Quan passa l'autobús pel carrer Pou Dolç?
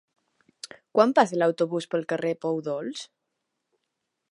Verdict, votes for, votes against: rejected, 0, 2